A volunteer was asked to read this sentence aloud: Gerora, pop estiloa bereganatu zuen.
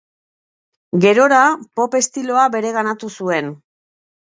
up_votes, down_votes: 2, 0